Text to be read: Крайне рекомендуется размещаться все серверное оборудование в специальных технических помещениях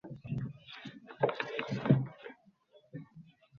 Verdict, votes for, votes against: rejected, 0, 2